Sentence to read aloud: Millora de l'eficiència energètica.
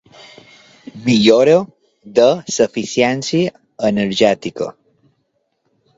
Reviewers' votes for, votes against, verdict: 0, 2, rejected